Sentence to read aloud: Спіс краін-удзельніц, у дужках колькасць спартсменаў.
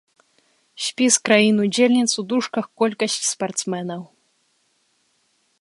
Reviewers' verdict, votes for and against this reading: accepted, 2, 0